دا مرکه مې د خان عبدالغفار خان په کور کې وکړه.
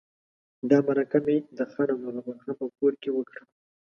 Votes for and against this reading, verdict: 1, 2, rejected